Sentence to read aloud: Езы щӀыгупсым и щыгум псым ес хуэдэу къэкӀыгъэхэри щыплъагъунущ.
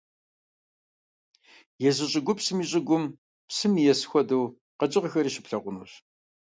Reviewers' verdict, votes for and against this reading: rejected, 0, 2